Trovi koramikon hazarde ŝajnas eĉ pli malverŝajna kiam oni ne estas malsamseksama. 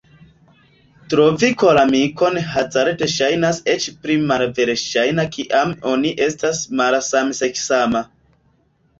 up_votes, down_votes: 0, 2